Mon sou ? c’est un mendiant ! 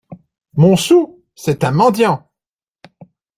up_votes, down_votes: 2, 0